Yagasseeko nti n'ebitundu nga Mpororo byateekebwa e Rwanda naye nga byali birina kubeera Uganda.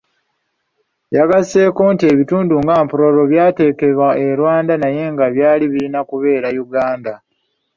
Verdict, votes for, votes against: rejected, 1, 2